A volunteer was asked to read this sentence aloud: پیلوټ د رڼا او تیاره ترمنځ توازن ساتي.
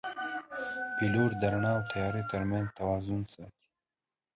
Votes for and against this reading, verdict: 1, 2, rejected